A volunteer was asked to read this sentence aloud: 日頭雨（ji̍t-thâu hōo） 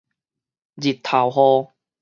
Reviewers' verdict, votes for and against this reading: accepted, 2, 0